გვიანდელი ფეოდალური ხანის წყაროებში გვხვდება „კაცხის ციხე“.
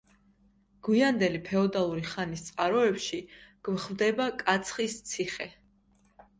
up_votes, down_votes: 2, 0